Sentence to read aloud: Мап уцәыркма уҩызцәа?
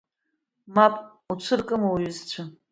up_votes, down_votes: 2, 1